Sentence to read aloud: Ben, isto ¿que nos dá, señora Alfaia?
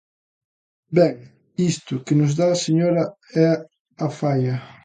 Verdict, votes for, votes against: rejected, 0, 2